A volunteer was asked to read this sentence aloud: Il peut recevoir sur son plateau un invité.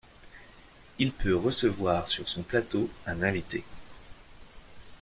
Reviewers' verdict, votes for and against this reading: accepted, 2, 0